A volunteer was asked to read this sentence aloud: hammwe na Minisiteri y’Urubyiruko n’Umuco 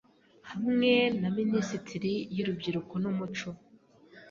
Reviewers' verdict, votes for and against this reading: rejected, 1, 2